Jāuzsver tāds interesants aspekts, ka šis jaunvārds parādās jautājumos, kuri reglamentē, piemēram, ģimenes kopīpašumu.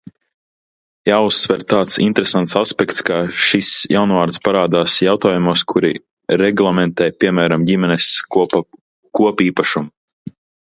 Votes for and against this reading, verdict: 0, 2, rejected